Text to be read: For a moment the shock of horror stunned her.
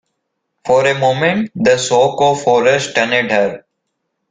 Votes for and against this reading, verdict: 2, 1, accepted